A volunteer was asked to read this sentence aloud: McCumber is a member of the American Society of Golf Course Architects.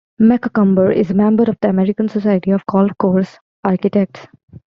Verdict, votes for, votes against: accepted, 2, 1